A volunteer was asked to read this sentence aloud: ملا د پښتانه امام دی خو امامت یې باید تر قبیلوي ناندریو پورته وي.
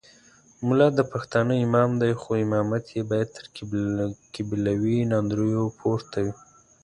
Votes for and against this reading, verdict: 1, 2, rejected